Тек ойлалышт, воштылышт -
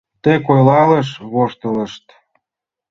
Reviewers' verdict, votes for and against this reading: rejected, 1, 2